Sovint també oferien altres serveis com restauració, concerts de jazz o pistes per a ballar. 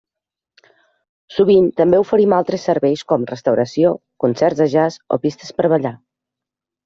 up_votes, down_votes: 1, 2